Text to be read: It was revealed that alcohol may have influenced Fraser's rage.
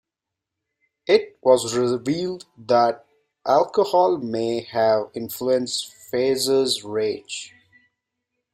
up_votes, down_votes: 2, 0